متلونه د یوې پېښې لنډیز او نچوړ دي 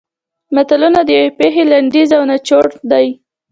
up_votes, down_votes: 2, 0